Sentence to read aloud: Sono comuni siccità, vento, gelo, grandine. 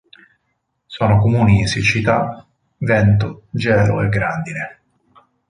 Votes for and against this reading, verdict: 0, 4, rejected